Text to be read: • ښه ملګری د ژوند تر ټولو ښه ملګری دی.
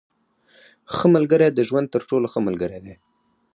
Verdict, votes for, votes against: rejected, 2, 4